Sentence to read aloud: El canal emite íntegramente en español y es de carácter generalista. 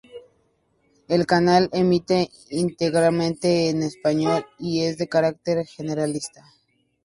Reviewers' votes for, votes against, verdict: 2, 0, accepted